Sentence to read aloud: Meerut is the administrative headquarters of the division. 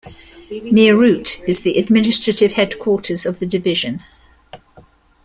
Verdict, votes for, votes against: accepted, 2, 1